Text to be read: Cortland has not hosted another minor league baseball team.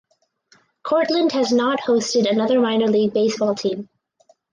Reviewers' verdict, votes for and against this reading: accepted, 4, 0